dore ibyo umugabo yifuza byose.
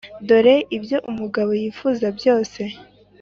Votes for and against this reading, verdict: 3, 0, accepted